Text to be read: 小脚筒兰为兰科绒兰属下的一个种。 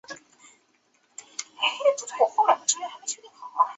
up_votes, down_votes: 3, 5